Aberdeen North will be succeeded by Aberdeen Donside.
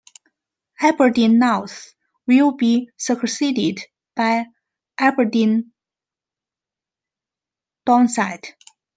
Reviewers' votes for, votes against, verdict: 0, 2, rejected